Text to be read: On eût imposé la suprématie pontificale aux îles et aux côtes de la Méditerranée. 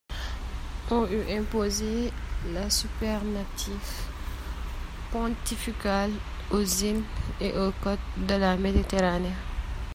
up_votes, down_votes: 0, 2